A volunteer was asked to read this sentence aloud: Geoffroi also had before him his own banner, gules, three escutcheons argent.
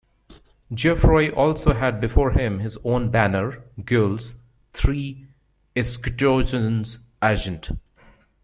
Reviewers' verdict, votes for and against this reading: rejected, 0, 2